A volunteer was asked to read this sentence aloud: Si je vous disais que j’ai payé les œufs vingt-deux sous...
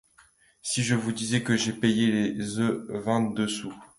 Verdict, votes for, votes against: accepted, 2, 0